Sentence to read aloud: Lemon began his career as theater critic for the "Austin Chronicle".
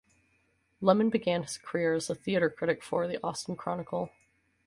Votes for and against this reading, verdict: 4, 2, accepted